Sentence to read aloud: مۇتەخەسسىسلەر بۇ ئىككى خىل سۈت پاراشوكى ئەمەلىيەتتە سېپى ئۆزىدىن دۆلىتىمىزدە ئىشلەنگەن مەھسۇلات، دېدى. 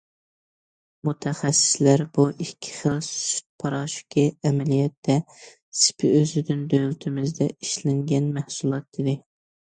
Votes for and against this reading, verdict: 2, 0, accepted